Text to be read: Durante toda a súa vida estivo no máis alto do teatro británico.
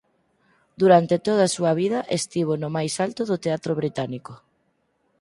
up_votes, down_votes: 4, 0